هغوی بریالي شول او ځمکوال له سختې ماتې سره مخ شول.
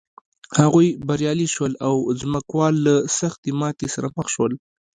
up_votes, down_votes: 1, 2